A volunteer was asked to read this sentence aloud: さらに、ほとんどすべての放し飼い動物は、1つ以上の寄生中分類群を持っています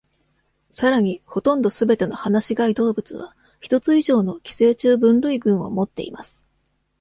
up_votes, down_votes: 0, 2